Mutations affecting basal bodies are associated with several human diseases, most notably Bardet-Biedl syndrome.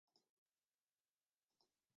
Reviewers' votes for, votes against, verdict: 0, 2, rejected